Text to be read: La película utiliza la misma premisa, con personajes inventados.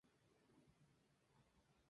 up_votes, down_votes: 0, 2